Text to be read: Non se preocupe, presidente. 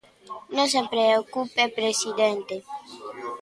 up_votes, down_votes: 1, 2